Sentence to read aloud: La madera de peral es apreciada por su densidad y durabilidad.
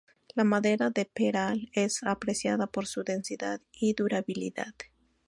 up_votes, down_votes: 2, 0